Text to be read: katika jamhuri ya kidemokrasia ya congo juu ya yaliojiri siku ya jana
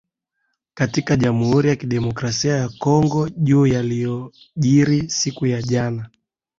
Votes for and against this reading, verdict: 4, 0, accepted